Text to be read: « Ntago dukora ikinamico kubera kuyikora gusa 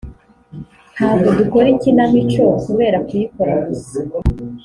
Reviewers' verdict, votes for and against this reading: accepted, 2, 0